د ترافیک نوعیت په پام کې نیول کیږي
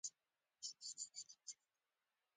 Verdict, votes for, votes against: rejected, 0, 2